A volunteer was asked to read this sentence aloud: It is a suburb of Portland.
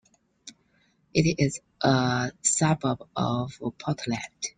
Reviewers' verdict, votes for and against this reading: accepted, 2, 0